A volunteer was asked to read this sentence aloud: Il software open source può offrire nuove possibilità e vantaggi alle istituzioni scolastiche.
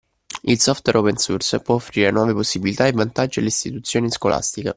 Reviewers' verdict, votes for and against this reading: accepted, 2, 0